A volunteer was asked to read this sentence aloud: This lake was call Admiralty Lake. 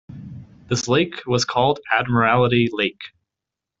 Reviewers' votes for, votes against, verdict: 1, 2, rejected